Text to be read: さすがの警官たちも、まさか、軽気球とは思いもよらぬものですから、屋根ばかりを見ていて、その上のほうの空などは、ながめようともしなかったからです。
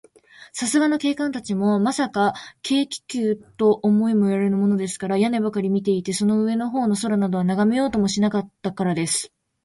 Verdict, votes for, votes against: rejected, 0, 2